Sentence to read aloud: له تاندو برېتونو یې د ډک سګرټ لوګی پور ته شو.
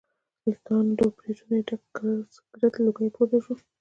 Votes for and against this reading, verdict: 0, 2, rejected